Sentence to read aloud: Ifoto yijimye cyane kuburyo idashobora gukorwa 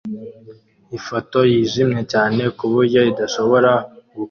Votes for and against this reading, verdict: 1, 2, rejected